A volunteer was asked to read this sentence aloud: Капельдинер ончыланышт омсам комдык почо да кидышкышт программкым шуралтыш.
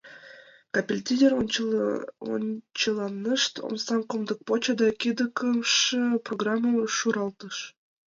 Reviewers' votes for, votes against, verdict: 0, 2, rejected